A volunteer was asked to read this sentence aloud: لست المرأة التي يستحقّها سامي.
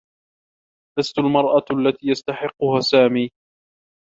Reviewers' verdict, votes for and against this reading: rejected, 0, 2